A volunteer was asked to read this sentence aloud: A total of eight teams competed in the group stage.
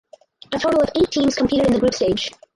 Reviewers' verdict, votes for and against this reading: accepted, 4, 0